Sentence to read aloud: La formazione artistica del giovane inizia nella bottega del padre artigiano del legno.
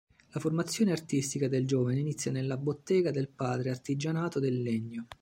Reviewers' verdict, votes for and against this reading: rejected, 0, 2